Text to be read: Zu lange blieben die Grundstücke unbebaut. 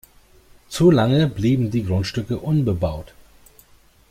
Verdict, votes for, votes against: accepted, 2, 0